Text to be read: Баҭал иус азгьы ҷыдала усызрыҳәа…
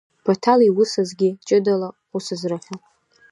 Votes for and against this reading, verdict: 2, 0, accepted